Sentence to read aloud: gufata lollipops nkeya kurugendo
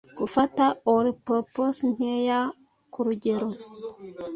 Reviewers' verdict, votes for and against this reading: rejected, 0, 2